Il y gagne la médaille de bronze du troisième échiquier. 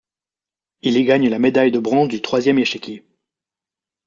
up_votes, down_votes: 2, 0